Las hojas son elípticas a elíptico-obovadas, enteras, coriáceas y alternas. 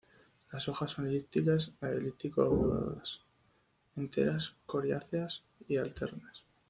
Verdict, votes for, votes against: rejected, 2, 3